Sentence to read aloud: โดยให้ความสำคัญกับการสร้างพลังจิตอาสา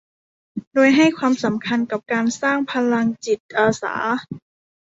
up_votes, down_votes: 1, 2